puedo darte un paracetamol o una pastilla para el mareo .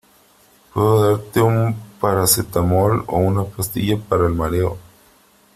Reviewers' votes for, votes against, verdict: 1, 2, rejected